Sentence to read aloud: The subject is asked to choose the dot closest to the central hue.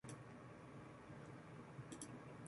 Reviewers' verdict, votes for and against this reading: rejected, 0, 2